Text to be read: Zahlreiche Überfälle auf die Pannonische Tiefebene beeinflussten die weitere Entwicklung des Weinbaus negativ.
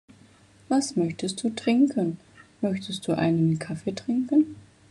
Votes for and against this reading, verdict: 0, 2, rejected